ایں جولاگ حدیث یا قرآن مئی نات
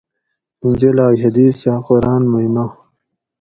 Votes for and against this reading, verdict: 4, 0, accepted